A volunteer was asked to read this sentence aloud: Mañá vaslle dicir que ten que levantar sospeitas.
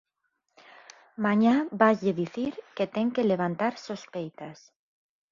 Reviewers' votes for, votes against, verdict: 6, 0, accepted